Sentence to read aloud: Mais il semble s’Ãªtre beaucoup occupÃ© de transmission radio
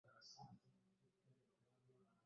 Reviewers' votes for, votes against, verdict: 0, 2, rejected